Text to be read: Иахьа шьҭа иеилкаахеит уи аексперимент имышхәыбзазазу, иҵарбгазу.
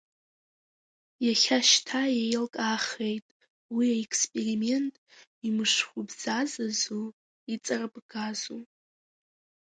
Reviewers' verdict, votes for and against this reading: rejected, 0, 3